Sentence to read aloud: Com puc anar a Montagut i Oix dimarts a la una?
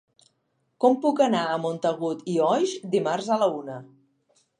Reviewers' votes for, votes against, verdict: 2, 0, accepted